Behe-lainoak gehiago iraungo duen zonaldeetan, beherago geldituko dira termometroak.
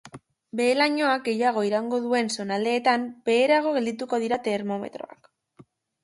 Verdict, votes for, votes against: accepted, 2, 0